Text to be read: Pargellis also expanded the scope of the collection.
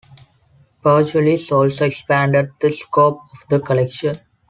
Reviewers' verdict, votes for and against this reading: accepted, 2, 0